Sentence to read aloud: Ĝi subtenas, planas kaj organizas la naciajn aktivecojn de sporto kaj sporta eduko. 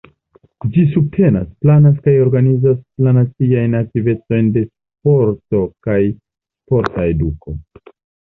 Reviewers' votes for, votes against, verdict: 1, 2, rejected